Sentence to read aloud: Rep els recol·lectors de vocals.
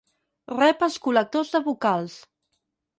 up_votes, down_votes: 0, 4